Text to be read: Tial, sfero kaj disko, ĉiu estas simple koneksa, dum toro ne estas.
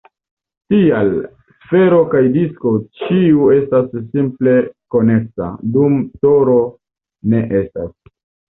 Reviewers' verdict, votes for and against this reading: accepted, 2, 1